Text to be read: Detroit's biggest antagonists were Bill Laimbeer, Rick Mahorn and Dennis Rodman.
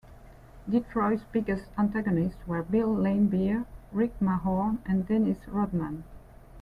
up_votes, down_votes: 2, 0